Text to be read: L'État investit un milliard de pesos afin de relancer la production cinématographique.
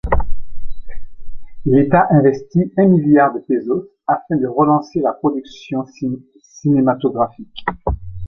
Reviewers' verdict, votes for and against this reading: rejected, 1, 2